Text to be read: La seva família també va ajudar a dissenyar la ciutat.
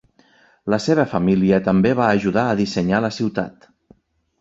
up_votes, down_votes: 5, 0